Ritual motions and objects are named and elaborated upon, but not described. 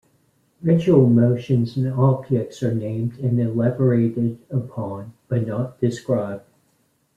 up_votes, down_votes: 2, 1